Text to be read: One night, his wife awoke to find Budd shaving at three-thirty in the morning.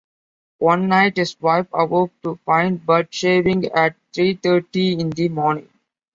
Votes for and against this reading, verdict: 2, 0, accepted